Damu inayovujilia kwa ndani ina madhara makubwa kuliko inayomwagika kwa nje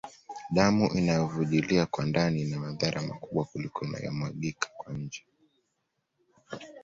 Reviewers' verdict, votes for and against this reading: accepted, 2, 0